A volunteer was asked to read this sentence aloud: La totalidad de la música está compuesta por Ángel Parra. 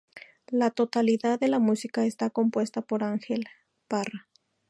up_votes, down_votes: 2, 0